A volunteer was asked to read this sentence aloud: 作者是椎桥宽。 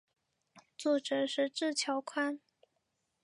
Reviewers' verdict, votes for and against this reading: rejected, 2, 3